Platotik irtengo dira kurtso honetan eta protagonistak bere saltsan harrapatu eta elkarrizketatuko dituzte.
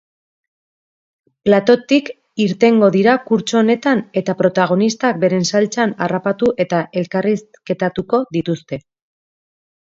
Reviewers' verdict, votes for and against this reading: rejected, 0, 2